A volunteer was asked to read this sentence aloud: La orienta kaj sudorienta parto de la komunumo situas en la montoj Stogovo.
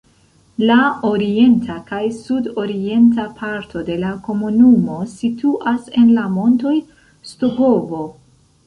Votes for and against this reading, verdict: 1, 2, rejected